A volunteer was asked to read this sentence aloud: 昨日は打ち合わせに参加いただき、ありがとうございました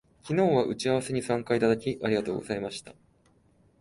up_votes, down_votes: 2, 0